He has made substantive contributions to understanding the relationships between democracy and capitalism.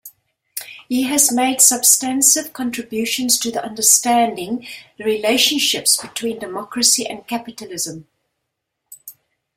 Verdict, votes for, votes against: rejected, 0, 2